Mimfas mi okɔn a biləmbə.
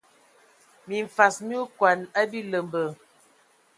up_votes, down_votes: 0, 2